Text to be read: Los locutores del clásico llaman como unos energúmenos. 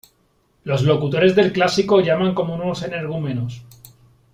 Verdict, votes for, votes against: accepted, 3, 0